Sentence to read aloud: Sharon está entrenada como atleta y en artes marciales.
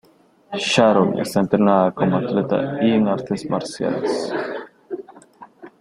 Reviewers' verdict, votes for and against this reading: accepted, 2, 1